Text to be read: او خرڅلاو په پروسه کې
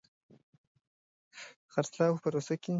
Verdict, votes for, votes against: rejected, 0, 2